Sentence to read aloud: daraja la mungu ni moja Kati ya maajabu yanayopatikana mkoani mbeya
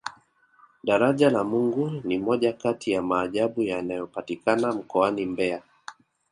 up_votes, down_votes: 2, 1